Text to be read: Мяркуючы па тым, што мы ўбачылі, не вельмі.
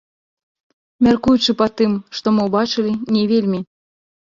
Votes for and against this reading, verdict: 0, 2, rejected